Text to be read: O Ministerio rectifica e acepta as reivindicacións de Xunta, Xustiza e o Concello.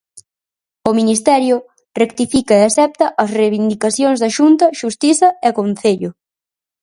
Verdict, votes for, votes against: rejected, 0, 4